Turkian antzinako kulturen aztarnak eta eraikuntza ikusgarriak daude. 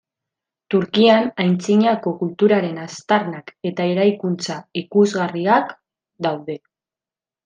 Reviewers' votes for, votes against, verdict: 0, 2, rejected